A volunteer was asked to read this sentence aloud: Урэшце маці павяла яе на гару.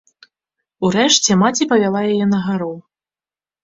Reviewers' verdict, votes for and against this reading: accepted, 2, 0